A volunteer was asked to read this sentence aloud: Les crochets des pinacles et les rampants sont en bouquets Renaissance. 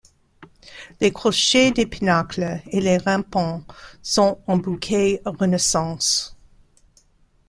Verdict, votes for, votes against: rejected, 1, 2